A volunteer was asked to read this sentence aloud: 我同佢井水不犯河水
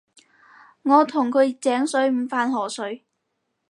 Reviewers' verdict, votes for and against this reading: rejected, 2, 6